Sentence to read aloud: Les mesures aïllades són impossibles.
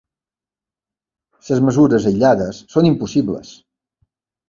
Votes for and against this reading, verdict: 1, 2, rejected